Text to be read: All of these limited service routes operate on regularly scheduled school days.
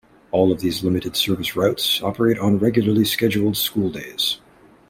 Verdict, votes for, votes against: accepted, 2, 0